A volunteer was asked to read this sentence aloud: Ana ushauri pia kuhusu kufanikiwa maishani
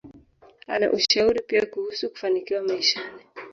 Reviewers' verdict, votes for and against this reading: rejected, 0, 2